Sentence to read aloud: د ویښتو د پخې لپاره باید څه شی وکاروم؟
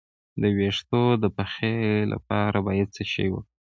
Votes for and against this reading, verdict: 1, 2, rejected